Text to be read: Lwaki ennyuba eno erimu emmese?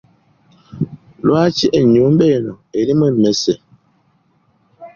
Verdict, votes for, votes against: accepted, 2, 0